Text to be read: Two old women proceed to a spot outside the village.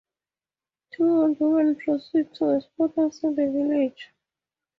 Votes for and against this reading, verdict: 4, 0, accepted